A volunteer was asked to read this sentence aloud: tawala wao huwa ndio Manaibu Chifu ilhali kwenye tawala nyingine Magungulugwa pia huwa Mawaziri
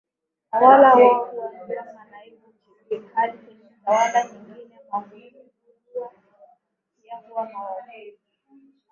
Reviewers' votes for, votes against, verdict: 0, 2, rejected